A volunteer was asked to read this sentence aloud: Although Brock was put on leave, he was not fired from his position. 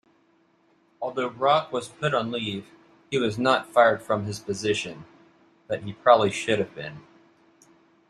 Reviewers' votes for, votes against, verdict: 0, 2, rejected